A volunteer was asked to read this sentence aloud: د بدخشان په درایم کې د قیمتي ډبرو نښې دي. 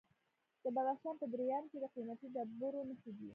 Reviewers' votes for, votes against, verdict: 1, 2, rejected